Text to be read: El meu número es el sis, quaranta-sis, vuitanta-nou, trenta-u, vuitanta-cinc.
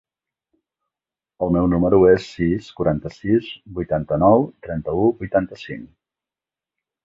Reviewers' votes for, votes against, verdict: 1, 2, rejected